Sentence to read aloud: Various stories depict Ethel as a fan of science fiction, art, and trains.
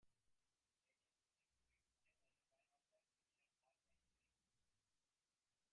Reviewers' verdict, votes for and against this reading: rejected, 0, 2